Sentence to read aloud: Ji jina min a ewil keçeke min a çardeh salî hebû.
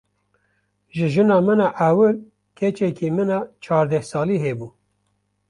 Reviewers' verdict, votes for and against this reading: accepted, 2, 0